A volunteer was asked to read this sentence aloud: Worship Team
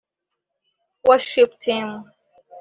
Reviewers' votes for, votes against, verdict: 2, 1, accepted